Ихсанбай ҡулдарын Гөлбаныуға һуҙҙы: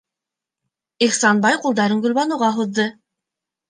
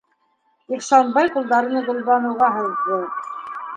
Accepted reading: first